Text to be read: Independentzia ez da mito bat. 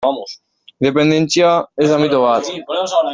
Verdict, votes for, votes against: rejected, 0, 2